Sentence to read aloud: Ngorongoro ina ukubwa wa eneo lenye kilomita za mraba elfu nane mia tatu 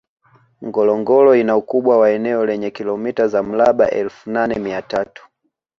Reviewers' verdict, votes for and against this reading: accepted, 2, 1